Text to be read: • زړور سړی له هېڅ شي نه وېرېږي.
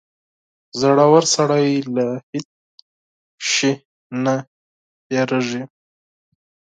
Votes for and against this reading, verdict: 2, 4, rejected